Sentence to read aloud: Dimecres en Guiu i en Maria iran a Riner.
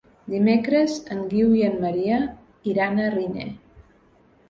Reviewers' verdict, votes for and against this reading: accepted, 3, 0